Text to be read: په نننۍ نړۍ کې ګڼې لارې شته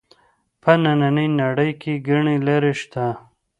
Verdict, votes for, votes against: accepted, 2, 0